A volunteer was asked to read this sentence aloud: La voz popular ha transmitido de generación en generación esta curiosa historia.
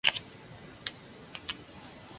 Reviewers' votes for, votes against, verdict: 0, 2, rejected